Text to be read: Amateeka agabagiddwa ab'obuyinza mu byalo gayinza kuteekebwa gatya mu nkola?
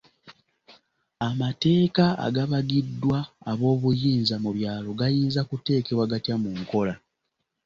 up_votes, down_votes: 2, 0